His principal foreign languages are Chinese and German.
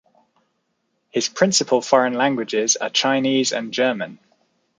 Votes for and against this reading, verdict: 1, 2, rejected